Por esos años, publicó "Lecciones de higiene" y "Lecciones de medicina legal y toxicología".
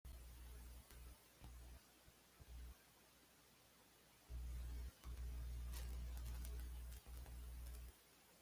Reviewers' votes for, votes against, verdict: 1, 2, rejected